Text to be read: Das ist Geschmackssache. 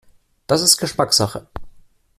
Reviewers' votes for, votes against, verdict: 2, 0, accepted